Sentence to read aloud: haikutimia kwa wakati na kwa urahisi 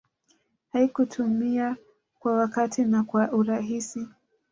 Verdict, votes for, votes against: rejected, 1, 2